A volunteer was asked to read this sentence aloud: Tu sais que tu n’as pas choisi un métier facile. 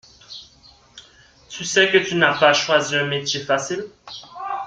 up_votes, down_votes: 2, 0